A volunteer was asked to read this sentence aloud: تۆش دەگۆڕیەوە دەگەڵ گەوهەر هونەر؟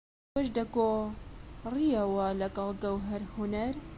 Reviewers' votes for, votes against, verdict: 0, 2, rejected